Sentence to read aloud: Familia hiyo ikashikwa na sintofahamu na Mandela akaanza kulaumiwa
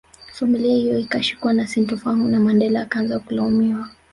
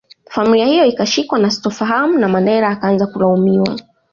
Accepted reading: second